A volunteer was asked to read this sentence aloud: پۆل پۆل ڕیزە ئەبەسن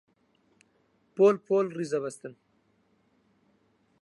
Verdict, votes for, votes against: rejected, 0, 4